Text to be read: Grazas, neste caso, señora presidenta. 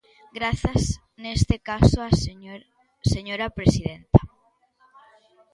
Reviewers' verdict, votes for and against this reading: rejected, 0, 2